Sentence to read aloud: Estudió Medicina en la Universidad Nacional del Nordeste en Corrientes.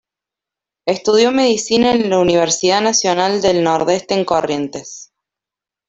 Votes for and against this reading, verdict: 1, 2, rejected